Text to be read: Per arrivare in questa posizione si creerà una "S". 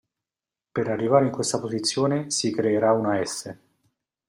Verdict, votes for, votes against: accepted, 2, 0